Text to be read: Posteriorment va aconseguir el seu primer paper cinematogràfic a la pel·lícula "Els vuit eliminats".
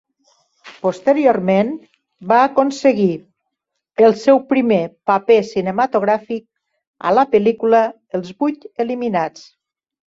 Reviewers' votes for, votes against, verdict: 2, 3, rejected